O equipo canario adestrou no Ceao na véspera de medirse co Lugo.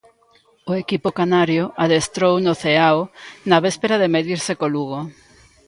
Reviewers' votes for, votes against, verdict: 2, 0, accepted